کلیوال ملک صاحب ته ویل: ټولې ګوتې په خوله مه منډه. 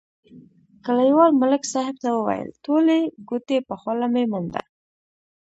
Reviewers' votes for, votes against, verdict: 1, 2, rejected